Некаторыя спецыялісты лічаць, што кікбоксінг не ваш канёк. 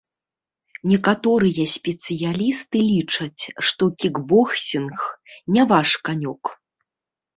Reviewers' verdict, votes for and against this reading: rejected, 1, 2